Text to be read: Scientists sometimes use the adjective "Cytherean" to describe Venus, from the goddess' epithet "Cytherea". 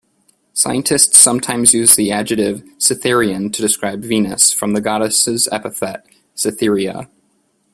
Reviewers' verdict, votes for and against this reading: accepted, 2, 0